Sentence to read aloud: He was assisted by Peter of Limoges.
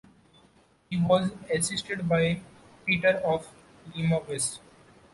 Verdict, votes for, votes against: rejected, 1, 2